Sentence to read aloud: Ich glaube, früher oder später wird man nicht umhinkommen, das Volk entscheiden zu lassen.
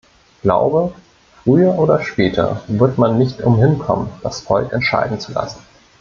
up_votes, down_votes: 1, 2